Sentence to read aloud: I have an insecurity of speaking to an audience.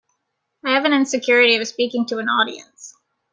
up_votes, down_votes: 2, 0